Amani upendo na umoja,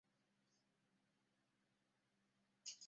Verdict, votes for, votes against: rejected, 0, 2